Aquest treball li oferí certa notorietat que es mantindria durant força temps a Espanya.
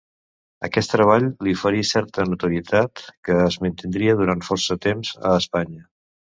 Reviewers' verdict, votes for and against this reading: accepted, 2, 0